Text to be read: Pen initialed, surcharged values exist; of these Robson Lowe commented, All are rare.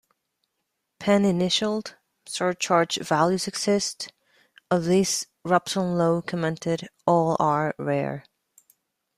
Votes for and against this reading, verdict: 2, 0, accepted